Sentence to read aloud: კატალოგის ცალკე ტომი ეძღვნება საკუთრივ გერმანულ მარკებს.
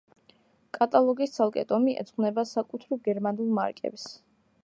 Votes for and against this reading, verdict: 0, 2, rejected